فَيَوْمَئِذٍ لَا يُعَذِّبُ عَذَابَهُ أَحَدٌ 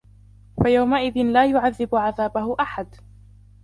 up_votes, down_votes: 0, 2